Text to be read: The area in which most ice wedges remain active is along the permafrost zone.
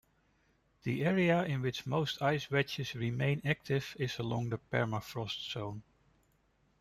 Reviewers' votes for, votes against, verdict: 2, 0, accepted